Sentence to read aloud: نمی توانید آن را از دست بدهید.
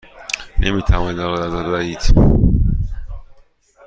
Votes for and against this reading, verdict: 1, 2, rejected